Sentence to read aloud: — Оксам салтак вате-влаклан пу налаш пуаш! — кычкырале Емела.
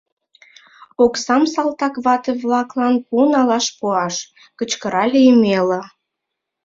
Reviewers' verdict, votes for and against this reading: accepted, 2, 0